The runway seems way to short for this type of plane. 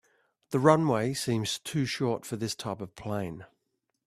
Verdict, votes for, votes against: rejected, 1, 2